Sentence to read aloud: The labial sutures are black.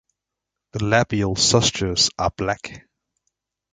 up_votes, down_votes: 0, 2